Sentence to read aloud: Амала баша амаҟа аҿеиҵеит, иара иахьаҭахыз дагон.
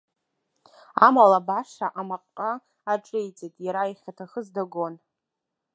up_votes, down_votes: 0, 2